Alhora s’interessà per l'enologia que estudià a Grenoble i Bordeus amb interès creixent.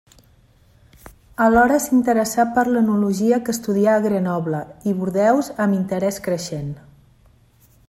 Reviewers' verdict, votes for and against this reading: rejected, 1, 2